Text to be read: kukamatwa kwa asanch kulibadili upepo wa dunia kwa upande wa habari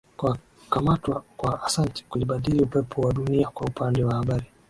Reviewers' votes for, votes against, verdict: 1, 2, rejected